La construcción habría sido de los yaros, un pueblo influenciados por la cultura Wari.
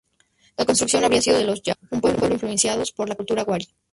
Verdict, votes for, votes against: rejected, 0, 2